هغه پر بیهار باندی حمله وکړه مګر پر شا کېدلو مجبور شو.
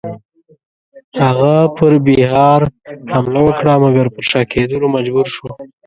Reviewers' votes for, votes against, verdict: 1, 2, rejected